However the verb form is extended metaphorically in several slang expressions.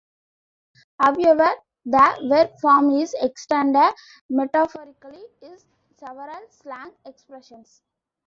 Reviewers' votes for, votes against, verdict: 1, 2, rejected